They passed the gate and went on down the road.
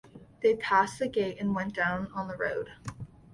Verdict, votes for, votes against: rejected, 0, 2